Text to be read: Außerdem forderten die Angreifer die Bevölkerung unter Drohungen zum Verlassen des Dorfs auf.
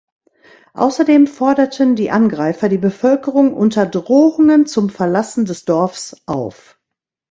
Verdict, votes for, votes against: accepted, 2, 0